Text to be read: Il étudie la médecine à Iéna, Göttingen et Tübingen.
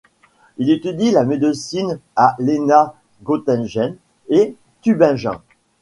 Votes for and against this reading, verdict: 1, 2, rejected